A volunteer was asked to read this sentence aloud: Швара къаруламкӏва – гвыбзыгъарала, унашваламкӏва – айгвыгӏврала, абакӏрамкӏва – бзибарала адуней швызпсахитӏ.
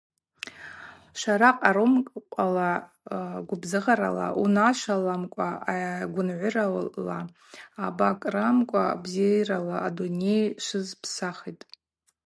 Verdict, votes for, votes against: rejected, 0, 2